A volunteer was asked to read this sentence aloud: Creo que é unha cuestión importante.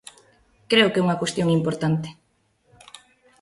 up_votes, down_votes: 2, 0